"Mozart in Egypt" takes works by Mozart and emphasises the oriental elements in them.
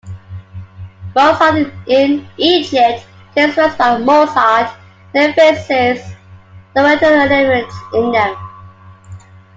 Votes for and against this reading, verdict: 0, 2, rejected